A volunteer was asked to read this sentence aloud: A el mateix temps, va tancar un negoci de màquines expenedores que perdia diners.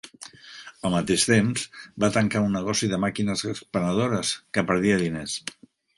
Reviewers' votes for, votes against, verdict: 1, 2, rejected